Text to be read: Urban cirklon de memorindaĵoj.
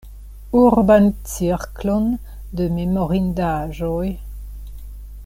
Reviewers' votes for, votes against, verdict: 2, 0, accepted